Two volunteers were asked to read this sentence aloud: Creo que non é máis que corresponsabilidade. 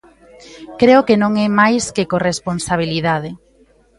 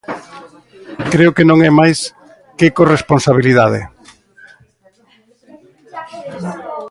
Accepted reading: first